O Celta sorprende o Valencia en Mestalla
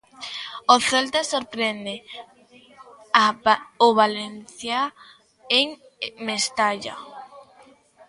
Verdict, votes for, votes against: rejected, 0, 2